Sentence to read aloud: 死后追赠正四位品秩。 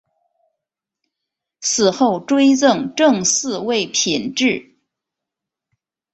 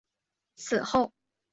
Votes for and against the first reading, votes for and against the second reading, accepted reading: 3, 1, 0, 2, first